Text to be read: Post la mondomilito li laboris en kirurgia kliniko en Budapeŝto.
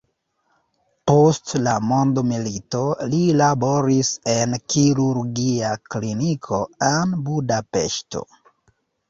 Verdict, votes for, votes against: accepted, 3, 0